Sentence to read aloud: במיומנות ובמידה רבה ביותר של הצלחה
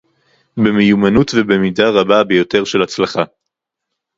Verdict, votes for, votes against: rejected, 0, 2